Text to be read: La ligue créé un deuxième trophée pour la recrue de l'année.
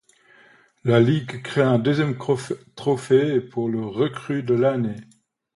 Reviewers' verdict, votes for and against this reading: rejected, 1, 2